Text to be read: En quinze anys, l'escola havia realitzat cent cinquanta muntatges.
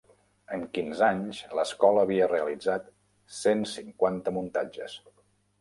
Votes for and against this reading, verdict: 3, 0, accepted